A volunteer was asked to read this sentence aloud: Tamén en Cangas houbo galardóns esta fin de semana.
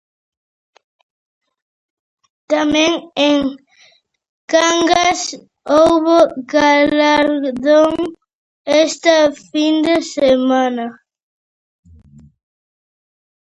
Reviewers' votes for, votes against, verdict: 0, 2, rejected